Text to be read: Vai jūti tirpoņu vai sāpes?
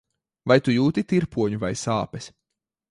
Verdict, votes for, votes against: rejected, 0, 2